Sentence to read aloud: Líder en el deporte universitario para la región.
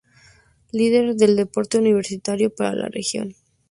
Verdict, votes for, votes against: rejected, 0, 2